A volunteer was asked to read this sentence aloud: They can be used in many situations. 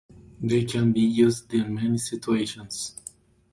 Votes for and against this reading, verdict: 2, 0, accepted